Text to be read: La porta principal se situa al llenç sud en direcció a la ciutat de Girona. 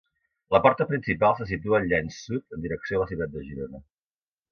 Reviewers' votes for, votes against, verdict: 3, 0, accepted